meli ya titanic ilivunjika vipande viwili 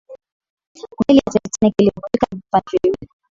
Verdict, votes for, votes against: rejected, 0, 2